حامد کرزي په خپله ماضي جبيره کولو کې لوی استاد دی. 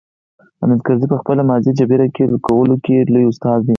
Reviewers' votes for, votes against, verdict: 2, 4, rejected